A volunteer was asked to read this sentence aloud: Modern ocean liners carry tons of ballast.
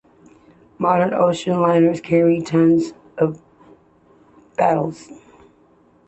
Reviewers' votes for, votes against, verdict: 2, 1, accepted